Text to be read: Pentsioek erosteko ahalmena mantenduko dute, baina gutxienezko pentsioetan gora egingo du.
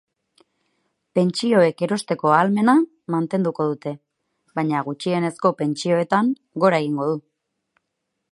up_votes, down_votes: 6, 0